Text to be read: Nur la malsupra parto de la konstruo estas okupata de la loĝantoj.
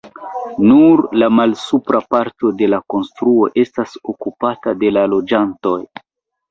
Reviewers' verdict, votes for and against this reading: accepted, 2, 1